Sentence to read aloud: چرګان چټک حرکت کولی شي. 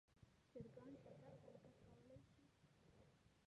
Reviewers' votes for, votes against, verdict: 1, 6, rejected